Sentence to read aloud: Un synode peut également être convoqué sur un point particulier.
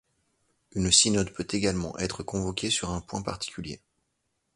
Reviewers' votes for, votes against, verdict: 1, 2, rejected